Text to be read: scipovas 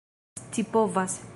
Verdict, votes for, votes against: rejected, 1, 2